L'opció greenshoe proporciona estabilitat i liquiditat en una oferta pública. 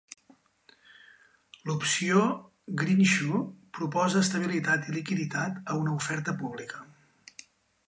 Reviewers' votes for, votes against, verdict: 0, 2, rejected